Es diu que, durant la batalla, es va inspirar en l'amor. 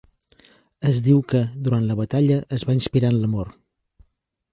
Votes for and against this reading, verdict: 3, 0, accepted